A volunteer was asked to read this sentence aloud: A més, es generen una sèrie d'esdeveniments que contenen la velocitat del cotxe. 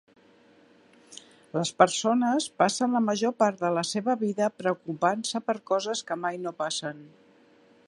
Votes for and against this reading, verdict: 0, 2, rejected